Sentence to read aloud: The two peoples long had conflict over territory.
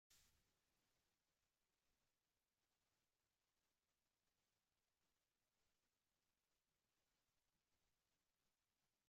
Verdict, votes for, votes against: rejected, 0, 2